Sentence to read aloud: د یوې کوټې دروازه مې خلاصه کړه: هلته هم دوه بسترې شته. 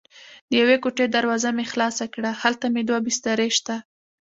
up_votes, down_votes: 1, 2